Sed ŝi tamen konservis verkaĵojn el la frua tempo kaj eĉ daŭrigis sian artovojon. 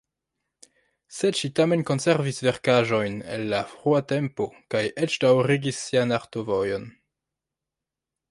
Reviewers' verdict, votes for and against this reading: rejected, 1, 2